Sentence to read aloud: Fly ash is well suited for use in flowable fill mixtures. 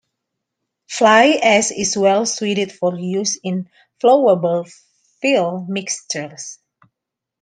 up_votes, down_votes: 2, 0